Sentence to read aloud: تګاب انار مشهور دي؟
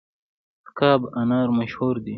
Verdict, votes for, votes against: accepted, 3, 0